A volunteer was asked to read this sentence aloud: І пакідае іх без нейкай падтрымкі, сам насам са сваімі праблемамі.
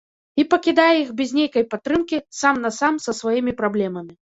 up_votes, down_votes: 1, 2